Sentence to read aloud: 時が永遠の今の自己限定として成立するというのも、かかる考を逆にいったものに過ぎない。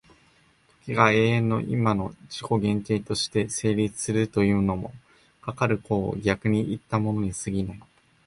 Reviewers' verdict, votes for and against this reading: rejected, 0, 2